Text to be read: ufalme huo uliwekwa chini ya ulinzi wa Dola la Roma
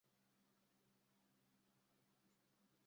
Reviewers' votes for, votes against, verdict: 0, 2, rejected